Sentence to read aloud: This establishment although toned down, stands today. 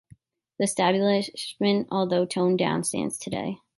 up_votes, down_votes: 1, 2